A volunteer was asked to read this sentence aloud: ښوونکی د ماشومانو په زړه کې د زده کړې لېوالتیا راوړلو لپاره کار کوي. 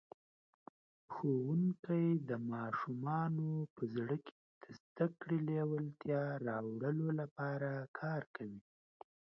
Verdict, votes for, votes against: rejected, 1, 2